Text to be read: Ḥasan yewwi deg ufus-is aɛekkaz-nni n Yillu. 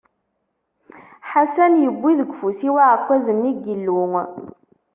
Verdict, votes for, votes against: rejected, 1, 2